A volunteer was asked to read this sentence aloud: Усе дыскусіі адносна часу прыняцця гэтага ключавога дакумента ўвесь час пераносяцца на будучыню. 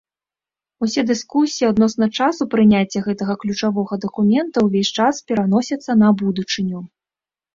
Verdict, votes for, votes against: rejected, 1, 2